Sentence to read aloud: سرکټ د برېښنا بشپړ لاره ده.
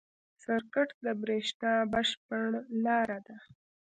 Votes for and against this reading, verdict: 2, 0, accepted